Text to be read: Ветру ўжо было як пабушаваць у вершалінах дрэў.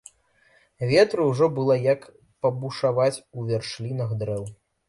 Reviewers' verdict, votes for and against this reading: rejected, 0, 2